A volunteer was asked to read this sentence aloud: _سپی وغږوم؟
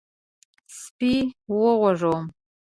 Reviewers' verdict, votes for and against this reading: rejected, 1, 2